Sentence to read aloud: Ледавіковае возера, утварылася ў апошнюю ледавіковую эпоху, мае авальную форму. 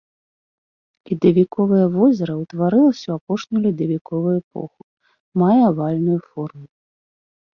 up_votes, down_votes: 2, 0